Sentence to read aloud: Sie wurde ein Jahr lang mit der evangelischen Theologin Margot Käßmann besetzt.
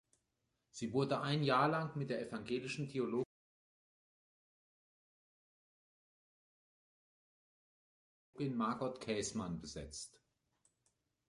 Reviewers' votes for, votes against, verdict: 1, 2, rejected